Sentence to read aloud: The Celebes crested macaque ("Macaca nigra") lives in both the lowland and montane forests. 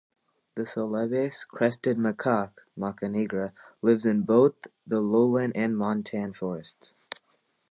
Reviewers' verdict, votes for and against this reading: accepted, 2, 0